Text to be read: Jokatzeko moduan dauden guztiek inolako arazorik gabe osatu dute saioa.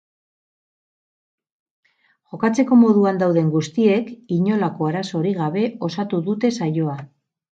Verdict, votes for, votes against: accepted, 2, 0